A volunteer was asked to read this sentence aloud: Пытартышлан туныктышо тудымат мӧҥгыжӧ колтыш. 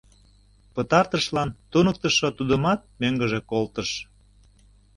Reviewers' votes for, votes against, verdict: 2, 0, accepted